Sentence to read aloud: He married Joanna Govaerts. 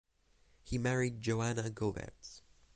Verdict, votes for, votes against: rejected, 0, 6